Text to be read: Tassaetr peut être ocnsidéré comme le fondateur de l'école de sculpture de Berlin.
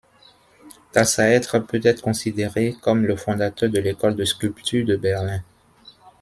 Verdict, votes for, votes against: rejected, 0, 2